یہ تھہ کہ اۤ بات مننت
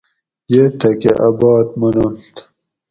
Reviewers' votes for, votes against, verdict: 4, 0, accepted